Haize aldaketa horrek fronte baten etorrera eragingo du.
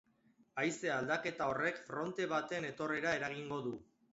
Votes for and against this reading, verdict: 2, 2, rejected